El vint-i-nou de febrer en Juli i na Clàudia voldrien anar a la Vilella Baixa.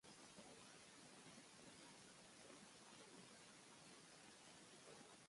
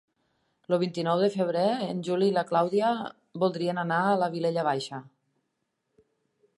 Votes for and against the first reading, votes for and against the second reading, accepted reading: 0, 2, 3, 0, second